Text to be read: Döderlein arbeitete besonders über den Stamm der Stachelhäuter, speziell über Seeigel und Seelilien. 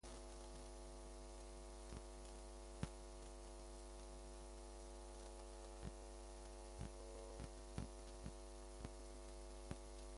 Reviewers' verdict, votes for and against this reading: rejected, 0, 2